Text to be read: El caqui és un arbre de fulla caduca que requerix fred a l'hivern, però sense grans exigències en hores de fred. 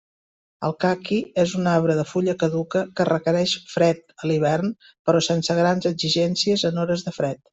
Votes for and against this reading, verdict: 2, 0, accepted